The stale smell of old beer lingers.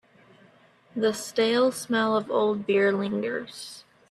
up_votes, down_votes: 2, 1